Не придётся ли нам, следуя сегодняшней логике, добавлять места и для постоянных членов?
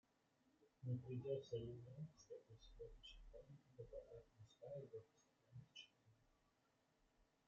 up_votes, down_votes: 0, 2